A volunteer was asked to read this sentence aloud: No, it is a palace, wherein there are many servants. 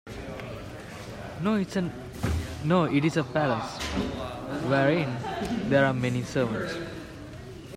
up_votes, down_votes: 0, 2